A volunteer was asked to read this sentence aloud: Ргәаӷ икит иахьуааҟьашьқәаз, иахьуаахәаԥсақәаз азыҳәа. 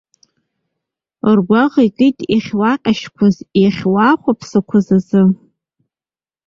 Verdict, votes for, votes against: rejected, 1, 2